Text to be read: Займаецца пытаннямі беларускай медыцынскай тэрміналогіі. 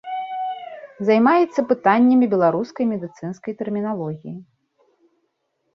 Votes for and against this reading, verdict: 1, 2, rejected